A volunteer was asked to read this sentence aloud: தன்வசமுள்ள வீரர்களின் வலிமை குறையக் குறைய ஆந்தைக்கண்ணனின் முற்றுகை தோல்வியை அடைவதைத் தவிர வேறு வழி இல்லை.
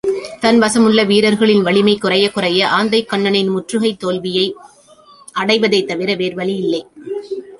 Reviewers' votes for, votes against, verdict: 2, 0, accepted